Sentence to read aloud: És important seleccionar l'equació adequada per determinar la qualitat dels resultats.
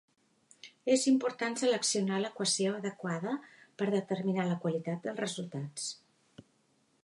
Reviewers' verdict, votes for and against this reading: accepted, 3, 0